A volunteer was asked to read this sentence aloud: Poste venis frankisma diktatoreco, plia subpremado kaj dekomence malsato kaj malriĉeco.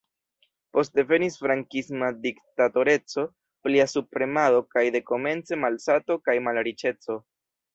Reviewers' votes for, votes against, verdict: 1, 2, rejected